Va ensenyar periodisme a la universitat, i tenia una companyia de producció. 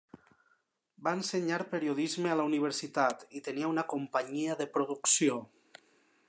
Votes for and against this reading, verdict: 3, 0, accepted